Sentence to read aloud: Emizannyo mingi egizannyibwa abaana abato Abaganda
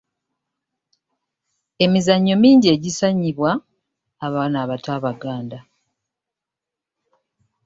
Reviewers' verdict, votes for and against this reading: accepted, 2, 0